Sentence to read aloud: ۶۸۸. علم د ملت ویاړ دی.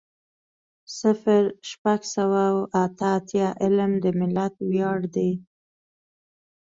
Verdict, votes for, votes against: rejected, 0, 2